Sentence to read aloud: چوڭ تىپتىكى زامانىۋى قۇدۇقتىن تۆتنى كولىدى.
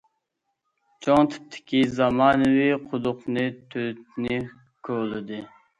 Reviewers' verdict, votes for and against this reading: rejected, 0, 2